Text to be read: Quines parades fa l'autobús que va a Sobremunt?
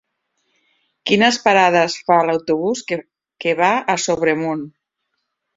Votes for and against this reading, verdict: 0, 2, rejected